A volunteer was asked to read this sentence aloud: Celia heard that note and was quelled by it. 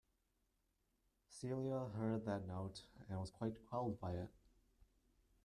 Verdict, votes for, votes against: accepted, 2, 1